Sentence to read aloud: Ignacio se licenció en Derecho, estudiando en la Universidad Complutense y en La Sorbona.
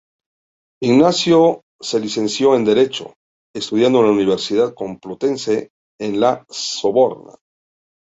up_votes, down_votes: 0, 2